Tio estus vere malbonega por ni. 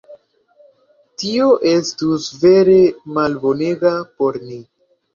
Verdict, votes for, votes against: accepted, 2, 0